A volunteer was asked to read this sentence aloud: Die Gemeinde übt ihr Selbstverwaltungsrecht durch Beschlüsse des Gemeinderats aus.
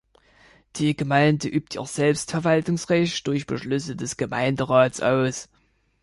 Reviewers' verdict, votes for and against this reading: accepted, 3, 1